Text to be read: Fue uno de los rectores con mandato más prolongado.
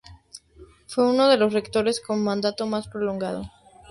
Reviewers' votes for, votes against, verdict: 4, 0, accepted